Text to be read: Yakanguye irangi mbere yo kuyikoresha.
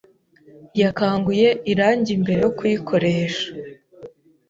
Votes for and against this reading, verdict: 3, 0, accepted